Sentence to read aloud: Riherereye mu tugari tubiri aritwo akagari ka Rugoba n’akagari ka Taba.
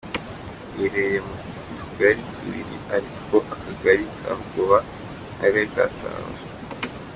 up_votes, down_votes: 2, 0